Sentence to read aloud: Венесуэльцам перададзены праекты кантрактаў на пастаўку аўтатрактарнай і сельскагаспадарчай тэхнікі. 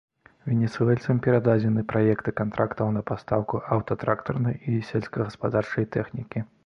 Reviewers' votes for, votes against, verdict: 2, 0, accepted